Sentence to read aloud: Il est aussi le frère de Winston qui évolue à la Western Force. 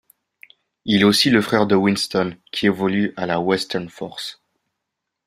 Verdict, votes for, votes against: accepted, 2, 0